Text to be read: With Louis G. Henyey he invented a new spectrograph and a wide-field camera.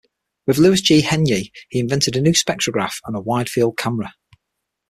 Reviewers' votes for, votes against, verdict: 6, 0, accepted